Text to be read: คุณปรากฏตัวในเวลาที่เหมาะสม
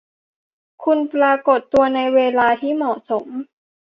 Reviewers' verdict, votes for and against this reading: accepted, 2, 0